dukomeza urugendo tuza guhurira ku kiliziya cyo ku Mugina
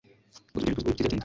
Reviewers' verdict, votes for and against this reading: accepted, 2, 0